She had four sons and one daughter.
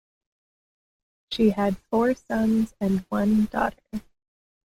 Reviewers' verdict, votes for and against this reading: rejected, 0, 2